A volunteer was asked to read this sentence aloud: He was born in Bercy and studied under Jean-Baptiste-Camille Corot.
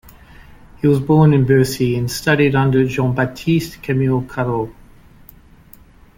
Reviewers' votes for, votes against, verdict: 3, 0, accepted